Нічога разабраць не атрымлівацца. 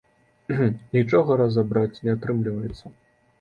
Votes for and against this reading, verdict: 2, 0, accepted